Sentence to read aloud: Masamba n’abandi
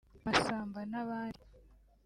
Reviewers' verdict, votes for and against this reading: accepted, 2, 0